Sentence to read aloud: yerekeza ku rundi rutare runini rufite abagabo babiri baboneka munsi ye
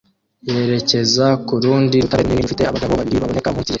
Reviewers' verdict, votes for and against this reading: rejected, 0, 2